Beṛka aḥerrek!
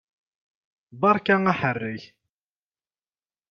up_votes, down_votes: 2, 0